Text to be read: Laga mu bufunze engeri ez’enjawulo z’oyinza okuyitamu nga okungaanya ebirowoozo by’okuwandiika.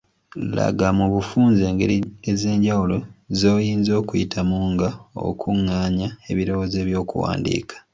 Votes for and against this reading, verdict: 1, 2, rejected